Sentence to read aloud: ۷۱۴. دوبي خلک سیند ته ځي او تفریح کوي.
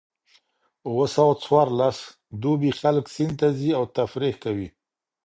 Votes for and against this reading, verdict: 0, 2, rejected